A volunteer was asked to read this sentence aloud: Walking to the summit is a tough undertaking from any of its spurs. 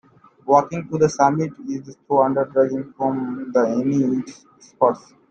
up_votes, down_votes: 0, 2